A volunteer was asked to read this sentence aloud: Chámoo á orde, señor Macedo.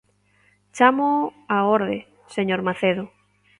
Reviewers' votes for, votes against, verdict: 2, 0, accepted